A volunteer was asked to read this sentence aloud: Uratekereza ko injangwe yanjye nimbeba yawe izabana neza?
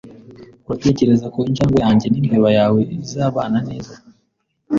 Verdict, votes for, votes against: accepted, 2, 0